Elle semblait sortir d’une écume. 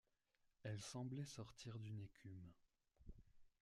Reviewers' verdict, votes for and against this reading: rejected, 0, 2